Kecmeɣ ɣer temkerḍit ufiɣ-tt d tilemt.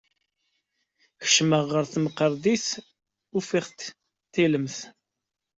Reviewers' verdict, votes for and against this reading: rejected, 1, 2